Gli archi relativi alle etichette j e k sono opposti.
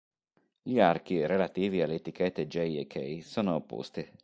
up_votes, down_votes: 1, 2